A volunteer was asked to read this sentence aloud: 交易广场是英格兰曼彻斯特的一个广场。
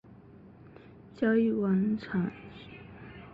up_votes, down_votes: 0, 3